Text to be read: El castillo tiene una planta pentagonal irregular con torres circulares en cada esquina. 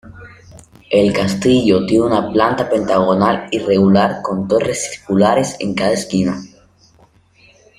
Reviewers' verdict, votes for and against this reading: rejected, 1, 2